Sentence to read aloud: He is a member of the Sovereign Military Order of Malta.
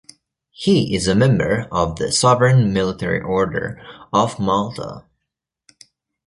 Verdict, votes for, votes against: rejected, 0, 2